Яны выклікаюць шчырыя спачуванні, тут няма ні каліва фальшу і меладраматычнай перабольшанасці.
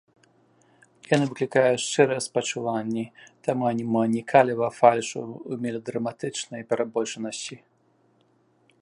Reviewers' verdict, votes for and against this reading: rejected, 0, 2